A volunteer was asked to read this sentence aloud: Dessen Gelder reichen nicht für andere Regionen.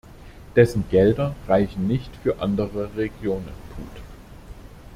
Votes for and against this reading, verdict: 0, 2, rejected